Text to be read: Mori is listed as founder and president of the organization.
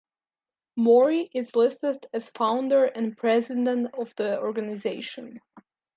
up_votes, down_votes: 2, 0